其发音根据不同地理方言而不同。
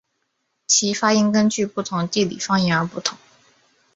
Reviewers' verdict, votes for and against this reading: accepted, 4, 0